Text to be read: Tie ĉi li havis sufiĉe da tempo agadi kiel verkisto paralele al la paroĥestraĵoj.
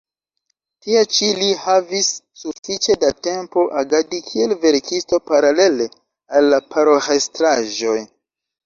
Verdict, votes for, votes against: accepted, 2, 1